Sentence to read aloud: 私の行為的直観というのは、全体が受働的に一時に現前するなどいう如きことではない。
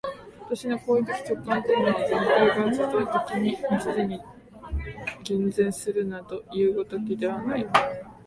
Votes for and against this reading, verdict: 1, 5, rejected